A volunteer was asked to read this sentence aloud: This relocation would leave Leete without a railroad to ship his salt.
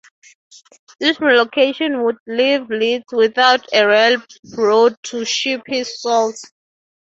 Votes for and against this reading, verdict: 3, 0, accepted